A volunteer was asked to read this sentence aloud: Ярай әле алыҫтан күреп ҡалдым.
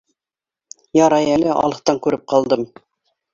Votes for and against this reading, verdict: 2, 0, accepted